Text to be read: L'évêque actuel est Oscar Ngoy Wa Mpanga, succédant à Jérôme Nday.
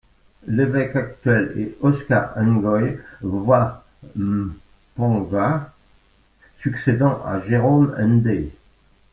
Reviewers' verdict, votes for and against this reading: rejected, 1, 2